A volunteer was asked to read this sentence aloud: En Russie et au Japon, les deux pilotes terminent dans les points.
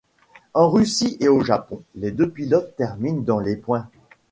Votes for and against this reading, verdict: 3, 0, accepted